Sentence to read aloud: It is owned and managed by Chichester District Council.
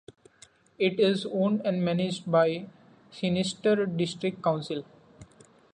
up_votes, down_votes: 0, 2